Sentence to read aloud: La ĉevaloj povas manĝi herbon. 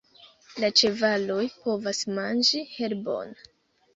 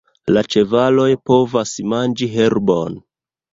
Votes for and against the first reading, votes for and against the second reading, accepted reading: 0, 2, 2, 1, second